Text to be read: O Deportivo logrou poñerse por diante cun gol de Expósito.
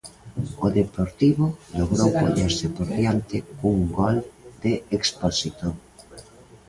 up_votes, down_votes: 0, 2